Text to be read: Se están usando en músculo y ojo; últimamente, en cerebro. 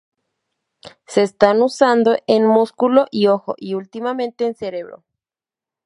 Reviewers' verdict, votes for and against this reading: rejected, 0, 2